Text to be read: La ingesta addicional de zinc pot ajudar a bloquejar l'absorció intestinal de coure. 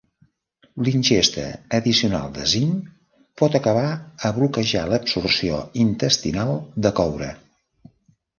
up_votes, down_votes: 0, 2